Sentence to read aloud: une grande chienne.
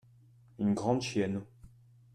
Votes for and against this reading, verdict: 2, 0, accepted